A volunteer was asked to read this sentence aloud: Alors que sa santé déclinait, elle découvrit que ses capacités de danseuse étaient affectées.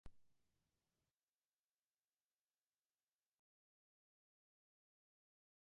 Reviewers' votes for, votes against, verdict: 1, 2, rejected